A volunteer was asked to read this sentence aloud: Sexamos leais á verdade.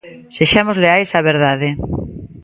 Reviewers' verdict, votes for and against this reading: accepted, 2, 1